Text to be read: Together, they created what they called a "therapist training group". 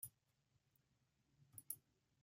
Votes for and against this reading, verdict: 1, 2, rejected